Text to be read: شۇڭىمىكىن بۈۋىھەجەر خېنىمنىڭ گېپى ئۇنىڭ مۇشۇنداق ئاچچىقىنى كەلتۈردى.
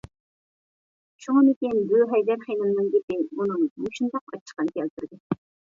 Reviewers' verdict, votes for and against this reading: rejected, 1, 2